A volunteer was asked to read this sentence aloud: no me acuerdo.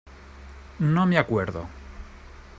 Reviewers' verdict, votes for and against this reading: accepted, 2, 0